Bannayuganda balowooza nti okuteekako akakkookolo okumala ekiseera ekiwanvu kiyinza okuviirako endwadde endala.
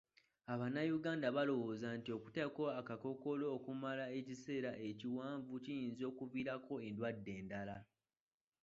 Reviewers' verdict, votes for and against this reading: accepted, 2, 1